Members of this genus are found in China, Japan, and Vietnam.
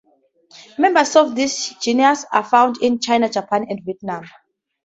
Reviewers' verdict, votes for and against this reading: accepted, 6, 4